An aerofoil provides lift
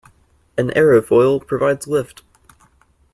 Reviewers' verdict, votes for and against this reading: accepted, 2, 0